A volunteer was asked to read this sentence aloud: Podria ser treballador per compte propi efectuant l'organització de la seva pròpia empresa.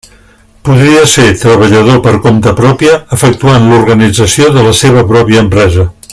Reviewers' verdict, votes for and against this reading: rejected, 1, 2